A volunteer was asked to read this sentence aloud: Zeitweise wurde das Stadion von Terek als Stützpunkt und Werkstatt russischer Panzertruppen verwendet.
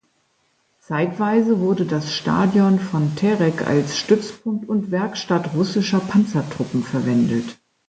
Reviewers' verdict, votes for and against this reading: accepted, 2, 0